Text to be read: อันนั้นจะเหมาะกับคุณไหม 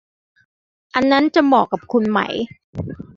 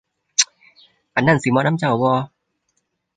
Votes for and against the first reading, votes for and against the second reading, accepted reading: 2, 0, 0, 2, first